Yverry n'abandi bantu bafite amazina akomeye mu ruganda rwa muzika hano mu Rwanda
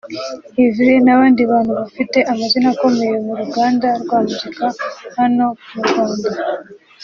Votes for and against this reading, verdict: 3, 0, accepted